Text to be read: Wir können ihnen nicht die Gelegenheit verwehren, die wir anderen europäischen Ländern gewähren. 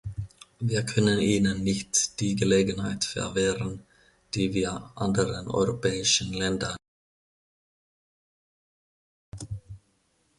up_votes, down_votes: 0, 2